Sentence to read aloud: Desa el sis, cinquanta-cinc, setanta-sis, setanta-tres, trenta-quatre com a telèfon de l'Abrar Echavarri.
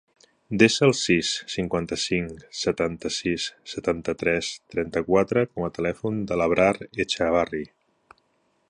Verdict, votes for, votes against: accepted, 3, 0